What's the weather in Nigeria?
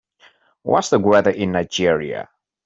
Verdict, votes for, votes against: accepted, 3, 0